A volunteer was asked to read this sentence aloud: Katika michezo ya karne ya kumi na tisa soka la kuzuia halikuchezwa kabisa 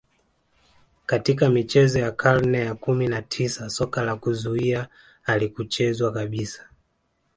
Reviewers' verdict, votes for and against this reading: accepted, 2, 0